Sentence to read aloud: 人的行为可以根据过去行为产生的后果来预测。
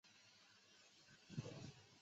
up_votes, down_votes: 0, 4